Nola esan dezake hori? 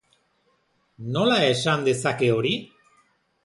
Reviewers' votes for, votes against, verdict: 2, 0, accepted